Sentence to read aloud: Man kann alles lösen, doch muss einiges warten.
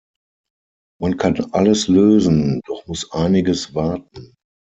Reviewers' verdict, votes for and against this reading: accepted, 6, 3